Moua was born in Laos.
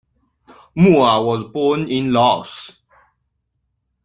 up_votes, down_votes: 2, 0